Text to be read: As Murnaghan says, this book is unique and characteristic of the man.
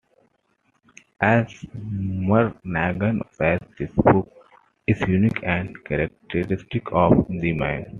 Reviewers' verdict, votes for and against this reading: accepted, 2, 1